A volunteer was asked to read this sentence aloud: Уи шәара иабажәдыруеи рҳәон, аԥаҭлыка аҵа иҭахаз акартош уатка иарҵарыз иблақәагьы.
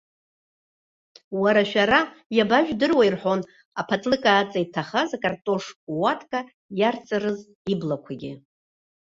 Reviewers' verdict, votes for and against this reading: rejected, 0, 2